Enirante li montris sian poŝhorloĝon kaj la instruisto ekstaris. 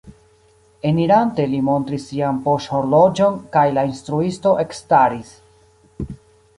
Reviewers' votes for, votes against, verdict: 1, 2, rejected